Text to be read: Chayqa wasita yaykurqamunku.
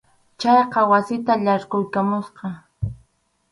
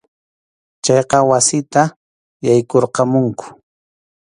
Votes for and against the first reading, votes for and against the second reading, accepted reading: 0, 2, 2, 0, second